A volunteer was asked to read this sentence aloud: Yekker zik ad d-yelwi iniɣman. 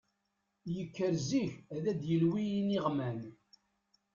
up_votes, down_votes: 1, 2